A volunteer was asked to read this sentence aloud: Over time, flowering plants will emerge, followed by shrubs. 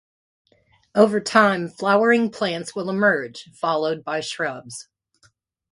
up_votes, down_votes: 2, 0